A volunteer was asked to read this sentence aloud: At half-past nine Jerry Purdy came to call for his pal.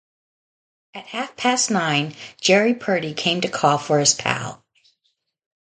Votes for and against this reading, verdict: 2, 0, accepted